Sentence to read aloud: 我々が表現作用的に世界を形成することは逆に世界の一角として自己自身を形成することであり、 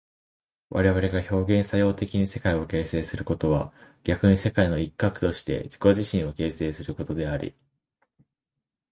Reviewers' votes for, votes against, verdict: 2, 0, accepted